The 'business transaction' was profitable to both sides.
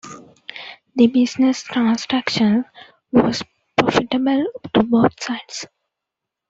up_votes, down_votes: 2, 0